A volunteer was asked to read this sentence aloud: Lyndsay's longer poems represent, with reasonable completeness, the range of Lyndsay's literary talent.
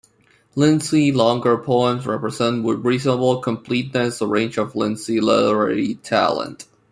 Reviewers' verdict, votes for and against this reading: rejected, 0, 2